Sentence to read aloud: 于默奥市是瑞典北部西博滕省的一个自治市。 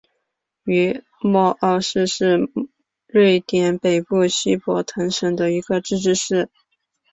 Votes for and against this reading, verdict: 2, 1, accepted